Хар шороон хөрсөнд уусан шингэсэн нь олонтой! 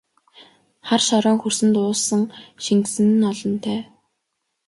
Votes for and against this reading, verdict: 2, 0, accepted